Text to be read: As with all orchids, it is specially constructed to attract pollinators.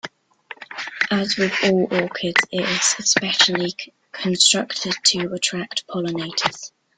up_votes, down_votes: 1, 2